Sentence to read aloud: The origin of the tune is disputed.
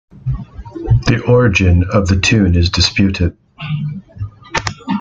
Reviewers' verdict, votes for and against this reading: accepted, 2, 0